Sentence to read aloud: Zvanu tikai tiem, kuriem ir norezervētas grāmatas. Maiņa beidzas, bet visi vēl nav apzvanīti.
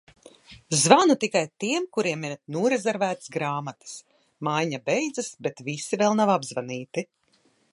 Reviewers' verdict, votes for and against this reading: accepted, 2, 0